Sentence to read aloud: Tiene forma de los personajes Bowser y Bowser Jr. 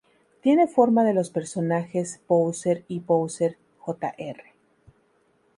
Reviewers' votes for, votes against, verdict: 0, 2, rejected